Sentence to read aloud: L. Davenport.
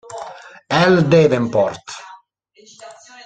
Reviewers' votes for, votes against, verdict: 1, 2, rejected